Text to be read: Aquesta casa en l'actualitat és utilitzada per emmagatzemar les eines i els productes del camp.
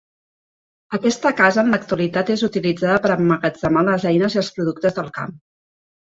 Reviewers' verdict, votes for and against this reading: accepted, 4, 0